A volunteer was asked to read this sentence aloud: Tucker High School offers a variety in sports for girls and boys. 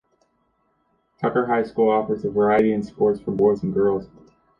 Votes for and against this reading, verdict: 2, 1, accepted